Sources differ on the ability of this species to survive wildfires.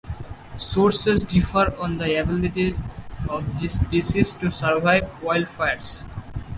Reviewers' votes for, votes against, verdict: 4, 0, accepted